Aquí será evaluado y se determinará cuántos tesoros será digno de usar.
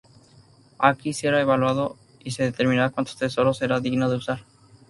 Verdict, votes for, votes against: accepted, 2, 0